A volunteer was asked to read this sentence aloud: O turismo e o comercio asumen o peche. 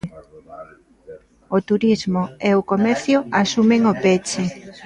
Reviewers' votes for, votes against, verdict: 1, 2, rejected